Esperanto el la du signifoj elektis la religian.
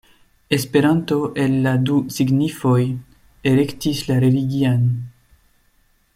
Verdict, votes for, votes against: accepted, 2, 0